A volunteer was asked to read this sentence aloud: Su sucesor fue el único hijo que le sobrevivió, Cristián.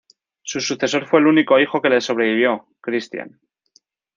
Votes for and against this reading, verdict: 2, 0, accepted